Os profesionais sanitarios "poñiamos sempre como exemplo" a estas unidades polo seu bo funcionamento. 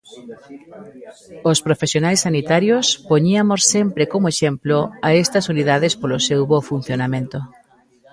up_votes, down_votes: 1, 2